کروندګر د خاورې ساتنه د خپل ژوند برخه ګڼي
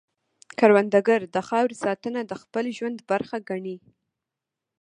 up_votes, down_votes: 1, 2